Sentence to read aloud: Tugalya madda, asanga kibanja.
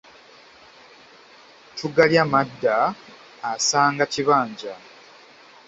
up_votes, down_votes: 0, 2